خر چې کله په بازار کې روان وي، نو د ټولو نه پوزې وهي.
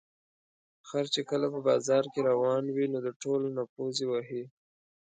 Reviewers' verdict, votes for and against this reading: accepted, 2, 0